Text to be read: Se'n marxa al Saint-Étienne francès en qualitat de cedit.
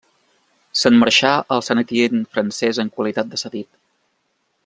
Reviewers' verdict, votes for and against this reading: rejected, 0, 2